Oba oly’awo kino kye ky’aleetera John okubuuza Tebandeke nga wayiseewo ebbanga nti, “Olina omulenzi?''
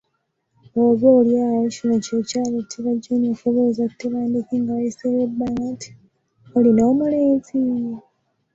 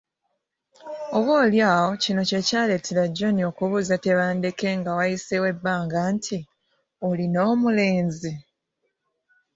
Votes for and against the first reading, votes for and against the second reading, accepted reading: 2, 3, 2, 1, second